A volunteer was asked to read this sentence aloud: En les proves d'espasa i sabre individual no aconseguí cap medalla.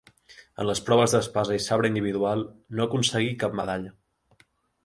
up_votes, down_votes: 4, 0